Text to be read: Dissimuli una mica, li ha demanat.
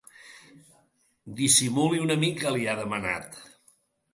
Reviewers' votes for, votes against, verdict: 2, 0, accepted